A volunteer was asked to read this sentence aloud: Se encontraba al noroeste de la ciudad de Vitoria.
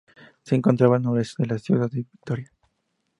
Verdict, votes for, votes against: rejected, 0, 2